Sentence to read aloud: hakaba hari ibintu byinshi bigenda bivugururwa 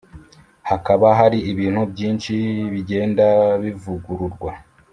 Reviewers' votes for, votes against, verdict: 2, 0, accepted